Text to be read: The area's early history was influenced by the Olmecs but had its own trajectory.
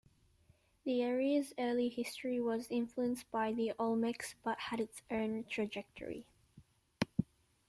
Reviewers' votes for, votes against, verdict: 2, 1, accepted